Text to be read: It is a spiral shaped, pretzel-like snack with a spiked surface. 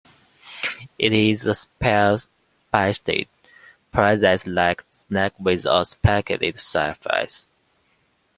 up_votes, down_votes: 1, 2